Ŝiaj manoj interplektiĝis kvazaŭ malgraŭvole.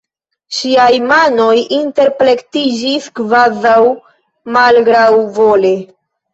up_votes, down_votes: 2, 0